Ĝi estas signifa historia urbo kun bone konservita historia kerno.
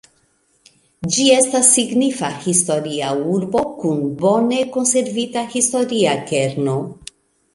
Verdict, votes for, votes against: accepted, 2, 0